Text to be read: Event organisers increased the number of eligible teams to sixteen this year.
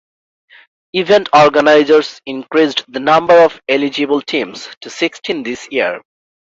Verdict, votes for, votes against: rejected, 1, 2